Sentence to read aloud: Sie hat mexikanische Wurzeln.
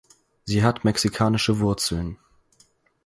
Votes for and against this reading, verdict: 4, 0, accepted